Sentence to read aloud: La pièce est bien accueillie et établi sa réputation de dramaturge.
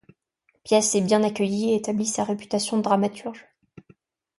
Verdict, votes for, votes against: rejected, 1, 2